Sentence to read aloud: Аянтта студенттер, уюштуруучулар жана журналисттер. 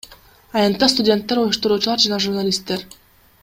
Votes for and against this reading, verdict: 1, 2, rejected